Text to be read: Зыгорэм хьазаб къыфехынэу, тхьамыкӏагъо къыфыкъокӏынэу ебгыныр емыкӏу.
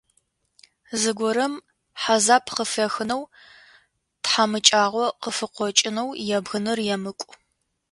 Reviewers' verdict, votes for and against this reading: accepted, 2, 0